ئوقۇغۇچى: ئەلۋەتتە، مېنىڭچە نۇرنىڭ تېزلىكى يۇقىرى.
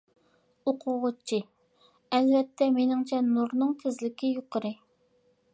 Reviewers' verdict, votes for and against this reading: accepted, 2, 0